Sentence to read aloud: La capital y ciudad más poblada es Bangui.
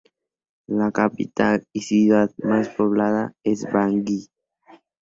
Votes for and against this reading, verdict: 0, 2, rejected